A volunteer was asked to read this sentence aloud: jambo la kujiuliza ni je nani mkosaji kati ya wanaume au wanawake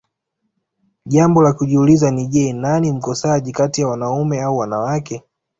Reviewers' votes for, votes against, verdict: 2, 0, accepted